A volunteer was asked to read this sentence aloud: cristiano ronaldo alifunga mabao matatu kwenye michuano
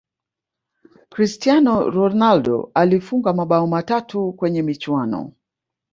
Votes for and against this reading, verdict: 1, 2, rejected